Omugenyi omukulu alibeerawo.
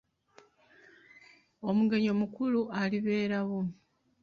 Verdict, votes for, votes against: accepted, 2, 1